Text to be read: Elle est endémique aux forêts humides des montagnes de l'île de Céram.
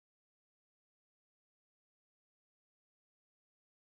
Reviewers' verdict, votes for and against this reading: rejected, 0, 2